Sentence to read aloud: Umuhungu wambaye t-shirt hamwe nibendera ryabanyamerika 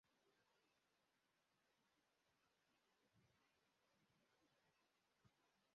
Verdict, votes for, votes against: rejected, 0, 2